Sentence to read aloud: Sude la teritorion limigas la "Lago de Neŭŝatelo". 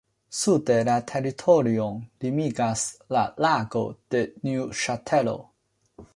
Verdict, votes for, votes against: rejected, 1, 2